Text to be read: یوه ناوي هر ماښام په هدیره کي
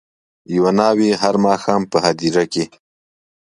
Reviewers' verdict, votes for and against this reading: accepted, 2, 0